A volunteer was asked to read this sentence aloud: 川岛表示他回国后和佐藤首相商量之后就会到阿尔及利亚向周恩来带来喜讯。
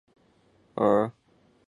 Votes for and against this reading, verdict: 2, 1, accepted